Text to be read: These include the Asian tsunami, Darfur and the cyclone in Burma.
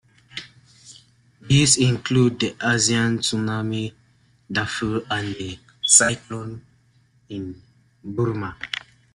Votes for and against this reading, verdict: 1, 2, rejected